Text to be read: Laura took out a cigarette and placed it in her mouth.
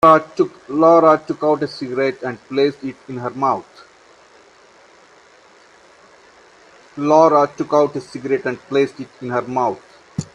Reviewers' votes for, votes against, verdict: 1, 2, rejected